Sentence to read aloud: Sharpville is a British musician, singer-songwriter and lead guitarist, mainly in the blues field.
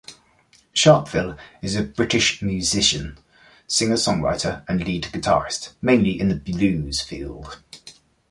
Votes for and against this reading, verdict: 2, 0, accepted